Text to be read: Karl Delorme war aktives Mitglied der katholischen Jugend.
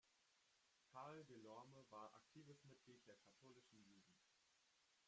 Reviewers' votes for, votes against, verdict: 0, 2, rejected